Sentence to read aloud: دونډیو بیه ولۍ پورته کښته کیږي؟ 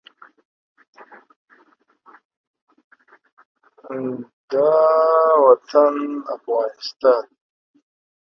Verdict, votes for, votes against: rejected, 0, 2